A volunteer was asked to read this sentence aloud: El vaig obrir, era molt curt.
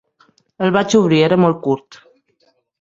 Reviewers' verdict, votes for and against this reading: accepted, 5, 0